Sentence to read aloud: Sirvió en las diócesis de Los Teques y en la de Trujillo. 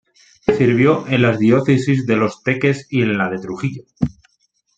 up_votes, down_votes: 2, 0